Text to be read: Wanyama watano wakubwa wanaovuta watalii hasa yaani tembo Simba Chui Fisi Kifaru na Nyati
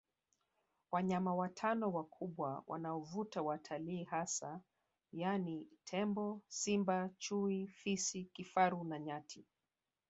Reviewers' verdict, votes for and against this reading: accepted, 2, 1